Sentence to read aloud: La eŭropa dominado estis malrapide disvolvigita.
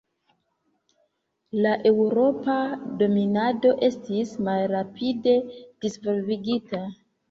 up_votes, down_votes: 2, 1